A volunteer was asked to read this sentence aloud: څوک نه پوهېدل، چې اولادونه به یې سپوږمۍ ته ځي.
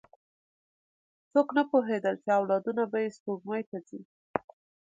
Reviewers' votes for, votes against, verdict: 2, 0, accepted